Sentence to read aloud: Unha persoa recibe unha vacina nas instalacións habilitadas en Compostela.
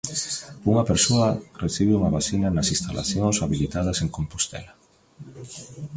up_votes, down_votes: 0, 2